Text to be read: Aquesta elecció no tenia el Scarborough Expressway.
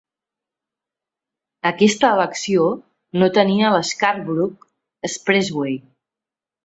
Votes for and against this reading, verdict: 2, 0, accepted